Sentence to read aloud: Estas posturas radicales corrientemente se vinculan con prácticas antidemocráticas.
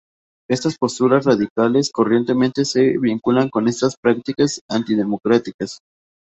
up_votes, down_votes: 2, 0